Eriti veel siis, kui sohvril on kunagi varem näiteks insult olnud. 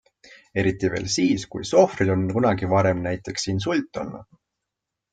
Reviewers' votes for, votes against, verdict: 2, 0, accepted